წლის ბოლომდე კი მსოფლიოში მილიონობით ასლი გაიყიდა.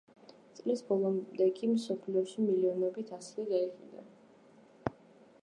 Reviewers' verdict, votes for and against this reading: accepted, 2, 0